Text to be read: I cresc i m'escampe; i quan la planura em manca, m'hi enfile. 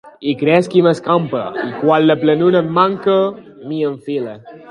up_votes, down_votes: 2, 1